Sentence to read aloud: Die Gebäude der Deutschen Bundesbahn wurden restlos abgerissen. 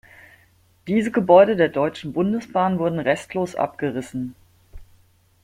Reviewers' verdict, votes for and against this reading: rejected, 0, 2